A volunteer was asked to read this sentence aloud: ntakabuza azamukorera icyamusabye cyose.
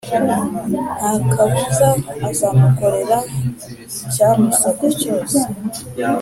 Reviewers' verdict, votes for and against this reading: accepted, 3, 0